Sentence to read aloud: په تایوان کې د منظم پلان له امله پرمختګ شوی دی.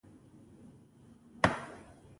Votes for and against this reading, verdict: 1, 2, rejected